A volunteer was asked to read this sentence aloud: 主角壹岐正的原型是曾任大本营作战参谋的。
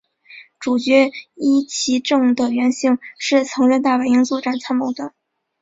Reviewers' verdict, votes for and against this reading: accepted, 2, 0